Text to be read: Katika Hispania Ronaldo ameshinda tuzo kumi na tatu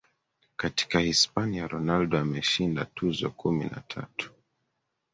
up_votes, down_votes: 2, 1